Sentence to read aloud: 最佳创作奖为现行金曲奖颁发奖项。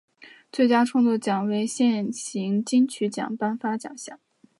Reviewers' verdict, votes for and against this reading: accepted, 3, 0